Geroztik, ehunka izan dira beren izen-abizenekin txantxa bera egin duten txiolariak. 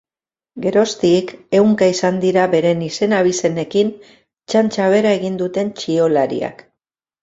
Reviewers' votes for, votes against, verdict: 2, 0, accepted